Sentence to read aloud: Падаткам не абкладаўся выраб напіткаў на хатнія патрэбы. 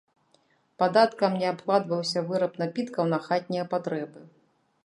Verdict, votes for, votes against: rejected, 1, 2